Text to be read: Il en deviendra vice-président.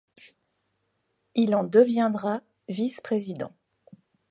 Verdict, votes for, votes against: accepted, 2, 0